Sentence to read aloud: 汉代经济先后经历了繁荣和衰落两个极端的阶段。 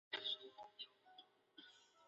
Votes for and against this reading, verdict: 0, 4, rejected